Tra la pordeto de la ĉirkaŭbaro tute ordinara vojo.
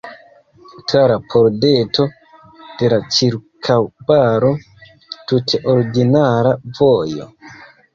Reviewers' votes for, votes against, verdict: 1, 2, rejected